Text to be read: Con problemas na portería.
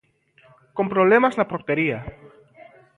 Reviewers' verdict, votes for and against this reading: accepted, 2, 0